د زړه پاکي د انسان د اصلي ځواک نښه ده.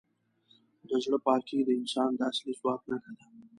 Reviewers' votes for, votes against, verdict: 2, 0, accepted